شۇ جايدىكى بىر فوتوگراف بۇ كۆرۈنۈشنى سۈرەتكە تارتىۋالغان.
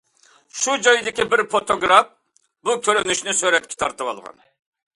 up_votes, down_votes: 2, 0